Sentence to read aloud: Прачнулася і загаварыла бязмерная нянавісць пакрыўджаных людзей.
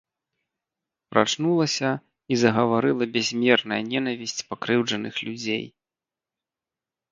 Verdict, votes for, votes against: rejected, 2, 3